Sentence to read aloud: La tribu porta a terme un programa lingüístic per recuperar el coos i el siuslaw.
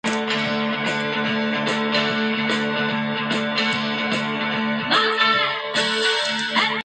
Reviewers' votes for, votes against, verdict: 0, 2, rejected